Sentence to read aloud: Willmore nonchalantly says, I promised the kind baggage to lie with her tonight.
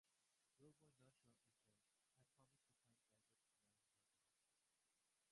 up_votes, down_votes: 0, 2